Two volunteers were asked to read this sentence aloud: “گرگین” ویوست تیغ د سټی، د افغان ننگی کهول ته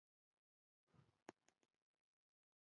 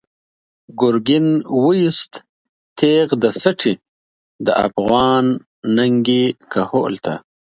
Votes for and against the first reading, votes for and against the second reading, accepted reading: 0, 2, 2, 0, second